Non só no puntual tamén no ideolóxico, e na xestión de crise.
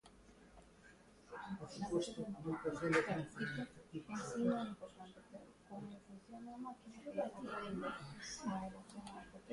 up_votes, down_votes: 0, 2